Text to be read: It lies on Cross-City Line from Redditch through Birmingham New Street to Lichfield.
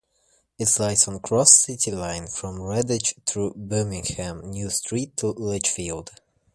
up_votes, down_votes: 0, 2